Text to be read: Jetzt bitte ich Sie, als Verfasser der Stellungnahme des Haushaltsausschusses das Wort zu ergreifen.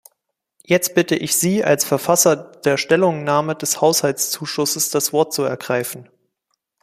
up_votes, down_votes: 0, 2